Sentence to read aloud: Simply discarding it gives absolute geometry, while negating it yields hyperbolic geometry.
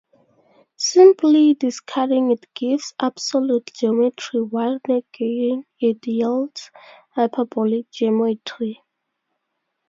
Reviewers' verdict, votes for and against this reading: rejected, 0, 2